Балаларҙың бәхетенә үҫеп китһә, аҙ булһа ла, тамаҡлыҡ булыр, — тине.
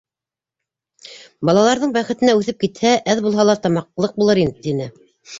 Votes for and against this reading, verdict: 1, 2, rejected